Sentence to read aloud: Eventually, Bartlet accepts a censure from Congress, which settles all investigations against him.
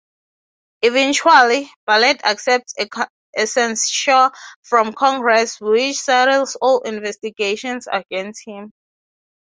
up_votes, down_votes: 6, 0